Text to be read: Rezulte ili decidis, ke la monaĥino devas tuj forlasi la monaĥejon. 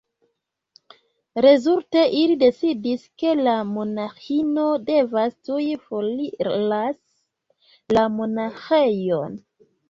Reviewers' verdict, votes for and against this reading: rejected, 0, 3